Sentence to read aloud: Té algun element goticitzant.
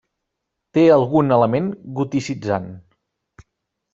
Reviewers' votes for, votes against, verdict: 0, 2, rejected